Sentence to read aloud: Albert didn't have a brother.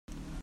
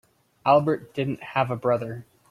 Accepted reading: second